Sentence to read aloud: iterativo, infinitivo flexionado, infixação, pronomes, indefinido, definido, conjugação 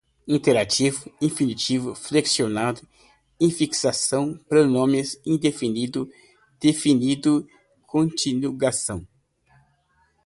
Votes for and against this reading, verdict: 0, 2, rejected